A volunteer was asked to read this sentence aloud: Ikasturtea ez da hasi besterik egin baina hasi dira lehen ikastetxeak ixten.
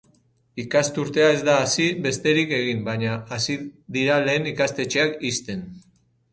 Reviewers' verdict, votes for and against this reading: accepted, 4, 2